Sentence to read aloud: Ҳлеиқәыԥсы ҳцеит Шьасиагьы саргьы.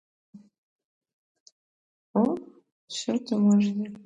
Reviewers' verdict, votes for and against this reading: rejected, 0, 2